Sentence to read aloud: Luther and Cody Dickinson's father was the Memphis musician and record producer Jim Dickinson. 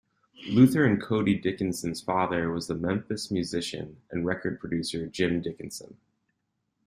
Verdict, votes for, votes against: accepted, 2, 0